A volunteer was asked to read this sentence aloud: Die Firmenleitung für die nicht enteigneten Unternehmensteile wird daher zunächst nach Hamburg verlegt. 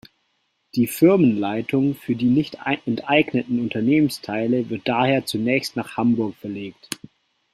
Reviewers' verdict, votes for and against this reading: rejected, 0, 2